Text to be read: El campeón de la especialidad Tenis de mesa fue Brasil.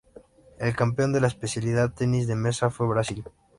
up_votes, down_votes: 3, 0